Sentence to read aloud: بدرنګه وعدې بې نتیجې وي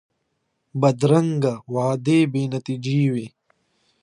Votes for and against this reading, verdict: 2, 0, accepted